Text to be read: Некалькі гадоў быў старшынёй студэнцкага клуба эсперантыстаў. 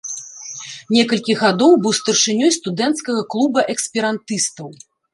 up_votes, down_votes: 0, 2